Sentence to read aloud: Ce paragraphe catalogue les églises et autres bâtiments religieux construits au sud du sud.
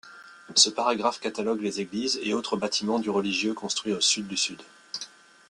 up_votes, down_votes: 0, 2